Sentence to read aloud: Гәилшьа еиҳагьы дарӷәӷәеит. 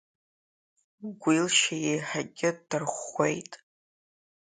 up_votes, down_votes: 1, 2